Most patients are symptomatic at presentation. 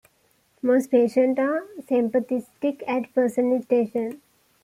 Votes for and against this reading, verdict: 1, 2, rejected